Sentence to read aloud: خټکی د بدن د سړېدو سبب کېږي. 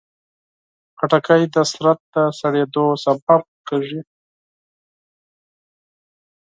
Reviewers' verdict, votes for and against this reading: rejected, 0, 4